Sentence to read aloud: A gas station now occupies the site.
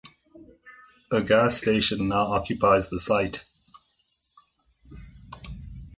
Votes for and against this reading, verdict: 2, 0, accepted